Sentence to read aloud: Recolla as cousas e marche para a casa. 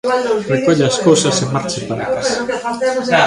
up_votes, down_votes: 1, 2